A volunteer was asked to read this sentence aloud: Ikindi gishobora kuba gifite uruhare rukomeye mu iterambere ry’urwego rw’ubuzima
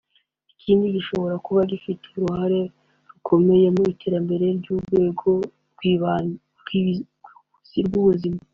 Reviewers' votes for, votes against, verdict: 2, 1, accepted